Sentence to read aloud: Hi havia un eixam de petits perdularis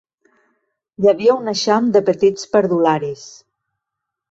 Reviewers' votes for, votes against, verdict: 3, 0, accepted